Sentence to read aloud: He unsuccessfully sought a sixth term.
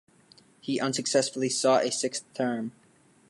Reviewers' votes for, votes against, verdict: 3, 0, accepted